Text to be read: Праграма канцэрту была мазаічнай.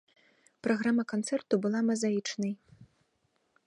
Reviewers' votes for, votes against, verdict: 0, 2, rejected